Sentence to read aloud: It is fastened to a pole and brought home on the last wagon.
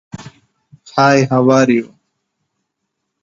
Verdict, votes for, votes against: rejected, 0, 2